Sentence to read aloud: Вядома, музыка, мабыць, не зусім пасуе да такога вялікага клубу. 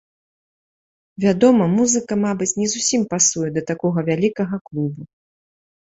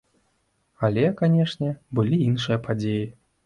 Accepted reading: first